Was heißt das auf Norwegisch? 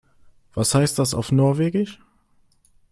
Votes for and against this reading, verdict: 3, 0, accepted